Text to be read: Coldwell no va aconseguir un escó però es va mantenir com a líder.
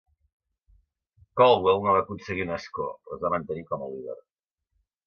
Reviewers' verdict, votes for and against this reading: rejected, 1, 2